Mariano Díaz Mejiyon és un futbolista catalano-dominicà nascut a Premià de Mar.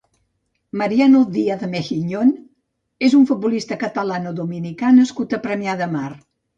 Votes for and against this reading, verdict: 1, 2, rejected